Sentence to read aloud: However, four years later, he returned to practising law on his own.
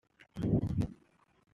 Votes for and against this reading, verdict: 0, 2, rejected